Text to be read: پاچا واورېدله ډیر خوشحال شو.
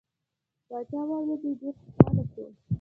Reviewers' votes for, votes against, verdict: 0, 2, rejected